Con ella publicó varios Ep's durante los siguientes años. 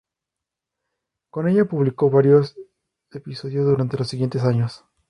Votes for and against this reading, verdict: 0, 2, rejected